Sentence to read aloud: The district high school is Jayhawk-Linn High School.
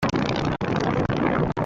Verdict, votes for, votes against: rejected, 0, 2